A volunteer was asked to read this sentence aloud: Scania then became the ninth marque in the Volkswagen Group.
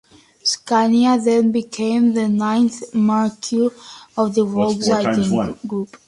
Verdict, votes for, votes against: rejected, 1, 2